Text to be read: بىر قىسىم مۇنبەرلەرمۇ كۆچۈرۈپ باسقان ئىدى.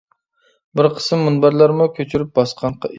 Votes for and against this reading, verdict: 0, 2, rejected